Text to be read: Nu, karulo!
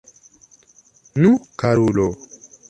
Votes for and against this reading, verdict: 0, 2, rejected